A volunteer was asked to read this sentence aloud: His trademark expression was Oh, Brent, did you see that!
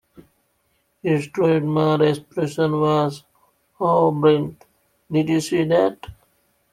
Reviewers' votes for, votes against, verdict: 2, 1, accepted